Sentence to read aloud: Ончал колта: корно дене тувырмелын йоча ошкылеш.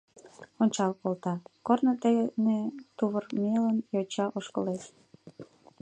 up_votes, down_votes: 1, 2